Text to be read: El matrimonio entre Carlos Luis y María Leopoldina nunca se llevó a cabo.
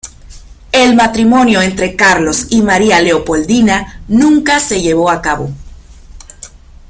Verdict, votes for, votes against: rejected, 1, 2